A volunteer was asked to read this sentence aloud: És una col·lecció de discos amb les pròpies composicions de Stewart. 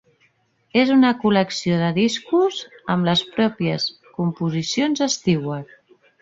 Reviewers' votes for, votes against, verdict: 1, 2, rejected